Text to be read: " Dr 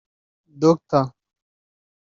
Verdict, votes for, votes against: rejected, 0, 2